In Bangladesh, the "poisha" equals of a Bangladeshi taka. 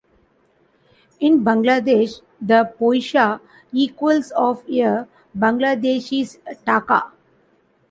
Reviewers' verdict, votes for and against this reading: accepted, 2, 0